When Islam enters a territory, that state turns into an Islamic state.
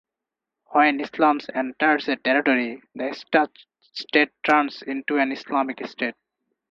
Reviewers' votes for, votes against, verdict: 0, 2, rejected